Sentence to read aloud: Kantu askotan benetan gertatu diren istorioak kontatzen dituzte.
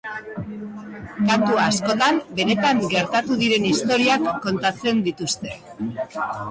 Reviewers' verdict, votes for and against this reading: rejected, 1, 2